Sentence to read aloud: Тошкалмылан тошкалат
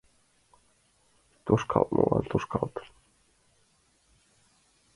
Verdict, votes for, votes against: rejected, 2, 3